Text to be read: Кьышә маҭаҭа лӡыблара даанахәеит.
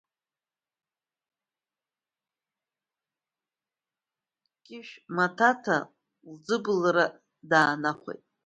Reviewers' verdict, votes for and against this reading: rejected, 0, 2